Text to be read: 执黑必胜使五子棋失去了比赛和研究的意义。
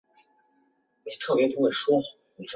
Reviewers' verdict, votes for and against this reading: rejected, 0, 2